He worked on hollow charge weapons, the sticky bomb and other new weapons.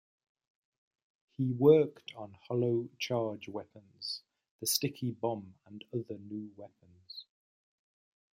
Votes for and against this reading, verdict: 2, 0, accepted